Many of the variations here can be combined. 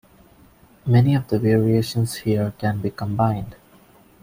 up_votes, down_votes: 2, 0